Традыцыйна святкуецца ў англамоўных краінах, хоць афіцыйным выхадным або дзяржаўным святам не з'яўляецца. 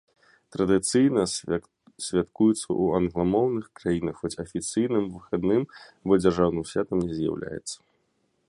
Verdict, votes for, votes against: rejected, 0, 2